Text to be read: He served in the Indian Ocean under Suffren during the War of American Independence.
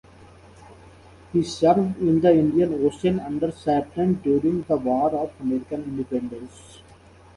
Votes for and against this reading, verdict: 2, 1, accepted